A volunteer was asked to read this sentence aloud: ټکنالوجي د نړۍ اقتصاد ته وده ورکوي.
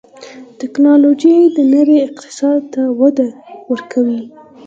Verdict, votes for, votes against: accepted, 4, 0